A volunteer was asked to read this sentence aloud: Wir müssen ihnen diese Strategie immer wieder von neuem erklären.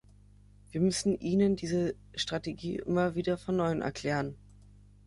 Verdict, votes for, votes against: accepted, 3, 0